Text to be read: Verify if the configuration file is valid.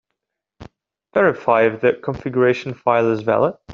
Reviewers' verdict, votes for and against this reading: accepted, 2, 1